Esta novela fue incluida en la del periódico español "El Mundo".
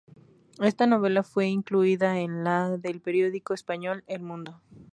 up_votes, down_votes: 2, 0